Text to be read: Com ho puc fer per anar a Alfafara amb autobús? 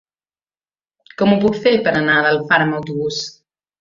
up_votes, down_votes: 1, 2